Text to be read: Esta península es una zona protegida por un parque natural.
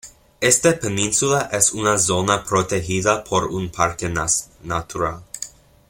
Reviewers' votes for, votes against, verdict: 0, 2, rejected